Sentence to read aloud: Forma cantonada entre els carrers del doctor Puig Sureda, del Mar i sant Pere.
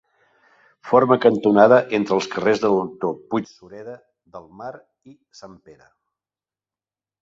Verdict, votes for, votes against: rejected, 0, 2